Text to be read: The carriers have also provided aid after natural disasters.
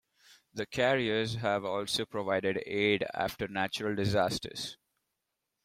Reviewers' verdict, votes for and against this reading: accepted, 2, 0